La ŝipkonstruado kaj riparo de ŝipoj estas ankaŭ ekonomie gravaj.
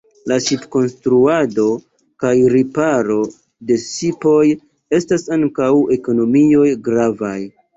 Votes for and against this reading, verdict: 1, 2, rejected